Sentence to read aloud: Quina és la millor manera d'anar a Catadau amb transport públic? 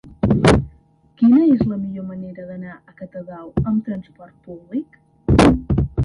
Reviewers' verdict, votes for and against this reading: accepted, 2, 1